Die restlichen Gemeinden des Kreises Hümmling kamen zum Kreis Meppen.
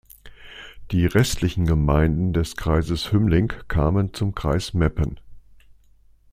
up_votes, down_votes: 2, 0